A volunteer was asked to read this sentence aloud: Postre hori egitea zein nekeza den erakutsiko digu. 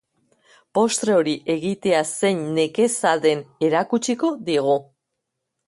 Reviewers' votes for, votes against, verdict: 2, 0, accepted